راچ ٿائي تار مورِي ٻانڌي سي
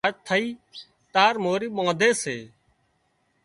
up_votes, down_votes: 0, 2